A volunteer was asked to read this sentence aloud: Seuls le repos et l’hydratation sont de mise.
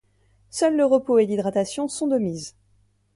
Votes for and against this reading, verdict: 2, 0, accepted